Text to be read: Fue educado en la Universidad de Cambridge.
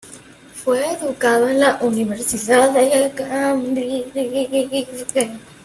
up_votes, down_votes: 0, 2